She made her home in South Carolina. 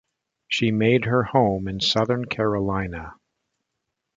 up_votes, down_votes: 0, 2